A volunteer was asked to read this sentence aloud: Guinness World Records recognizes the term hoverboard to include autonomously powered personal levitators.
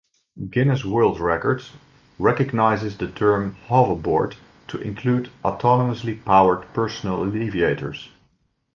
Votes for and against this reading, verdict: 0, 2, rejected